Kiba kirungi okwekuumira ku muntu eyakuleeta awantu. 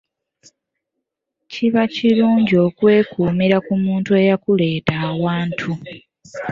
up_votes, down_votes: 3, 0